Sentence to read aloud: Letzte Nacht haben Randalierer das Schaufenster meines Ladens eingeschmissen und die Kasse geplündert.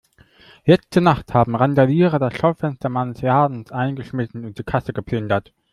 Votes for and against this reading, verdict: 2, 1, accepted